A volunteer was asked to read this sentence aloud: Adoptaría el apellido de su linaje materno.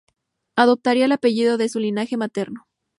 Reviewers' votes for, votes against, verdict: 2, 0, accepted